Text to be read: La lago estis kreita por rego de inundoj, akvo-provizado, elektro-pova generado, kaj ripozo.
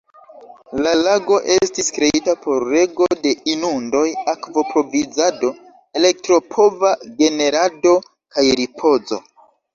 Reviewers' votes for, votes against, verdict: 2, 0, accepted